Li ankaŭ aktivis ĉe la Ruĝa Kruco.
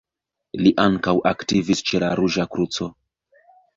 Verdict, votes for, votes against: rejected, 1, 2